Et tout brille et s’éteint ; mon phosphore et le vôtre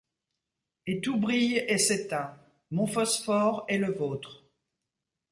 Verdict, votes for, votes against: rejected, 1, 2